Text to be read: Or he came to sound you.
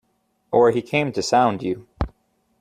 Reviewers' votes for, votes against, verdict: 2, 0, accepted